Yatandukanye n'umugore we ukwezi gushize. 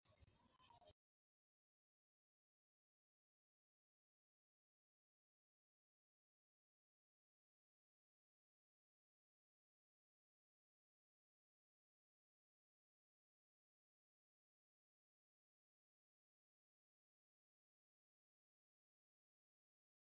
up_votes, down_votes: 0, 2